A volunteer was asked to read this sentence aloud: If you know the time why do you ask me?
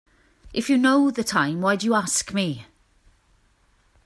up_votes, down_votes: 3, 0